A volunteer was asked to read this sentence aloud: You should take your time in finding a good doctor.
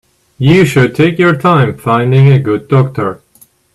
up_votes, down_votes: 1, 2